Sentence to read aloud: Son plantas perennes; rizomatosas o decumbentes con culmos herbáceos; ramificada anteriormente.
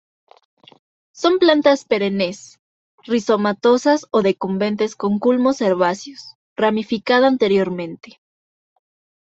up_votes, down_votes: 0, 2